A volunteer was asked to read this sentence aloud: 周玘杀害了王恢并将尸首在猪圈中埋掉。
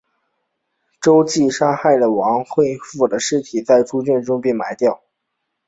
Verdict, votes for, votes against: accepted, 2, 1